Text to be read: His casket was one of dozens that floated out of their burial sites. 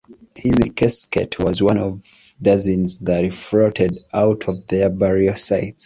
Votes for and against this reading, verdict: 2, 1, accepted